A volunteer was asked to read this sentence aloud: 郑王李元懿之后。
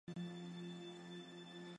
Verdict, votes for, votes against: rejected, 0, 2